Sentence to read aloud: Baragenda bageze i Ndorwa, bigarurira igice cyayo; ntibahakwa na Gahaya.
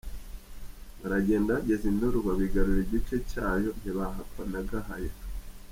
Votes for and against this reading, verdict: 1, 2, rejected